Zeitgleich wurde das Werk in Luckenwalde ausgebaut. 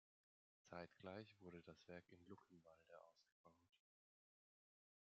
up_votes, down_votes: 1, 2